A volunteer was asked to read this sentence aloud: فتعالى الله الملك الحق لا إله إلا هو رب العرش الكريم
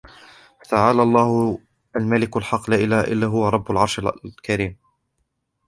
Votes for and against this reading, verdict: 1, 2, rejected